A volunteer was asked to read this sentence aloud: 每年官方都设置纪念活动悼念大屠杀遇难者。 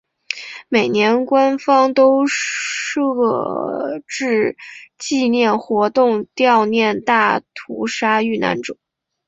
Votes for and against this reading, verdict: 0, 2, rejected